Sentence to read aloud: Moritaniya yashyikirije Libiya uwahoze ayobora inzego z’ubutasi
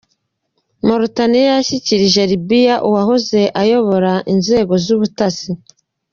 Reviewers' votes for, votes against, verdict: 2, 0, accepted